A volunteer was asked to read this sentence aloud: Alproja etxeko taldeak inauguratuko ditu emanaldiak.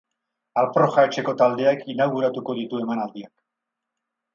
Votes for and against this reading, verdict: 4, 0, accepted